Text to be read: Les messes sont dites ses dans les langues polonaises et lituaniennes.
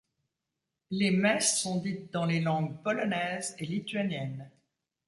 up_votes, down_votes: 0, 2